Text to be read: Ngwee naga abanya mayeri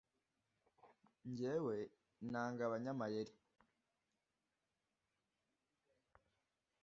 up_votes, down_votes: 1, 2